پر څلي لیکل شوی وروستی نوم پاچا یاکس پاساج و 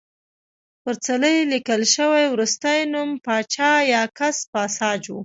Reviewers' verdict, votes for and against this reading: rejected, 1, 2